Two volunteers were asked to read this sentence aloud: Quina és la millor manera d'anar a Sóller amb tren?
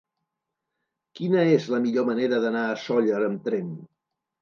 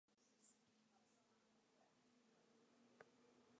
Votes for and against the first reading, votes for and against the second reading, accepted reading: 3, 0, 0, 2, first